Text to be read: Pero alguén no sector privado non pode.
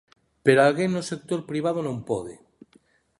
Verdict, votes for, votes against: accepted, 2, 0